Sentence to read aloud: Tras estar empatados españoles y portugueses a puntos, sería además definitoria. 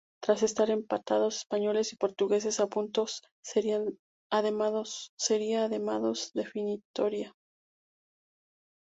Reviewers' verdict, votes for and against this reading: rejected, 0, 2